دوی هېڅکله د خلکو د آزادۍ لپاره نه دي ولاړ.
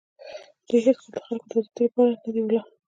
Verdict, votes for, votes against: rejected, 0, 2